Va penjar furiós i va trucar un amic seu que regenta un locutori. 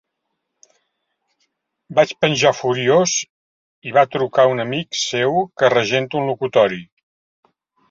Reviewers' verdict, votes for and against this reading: rejected, 1, 2